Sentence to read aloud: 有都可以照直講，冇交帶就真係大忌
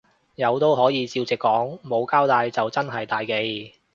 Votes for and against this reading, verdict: 2, 0, accepted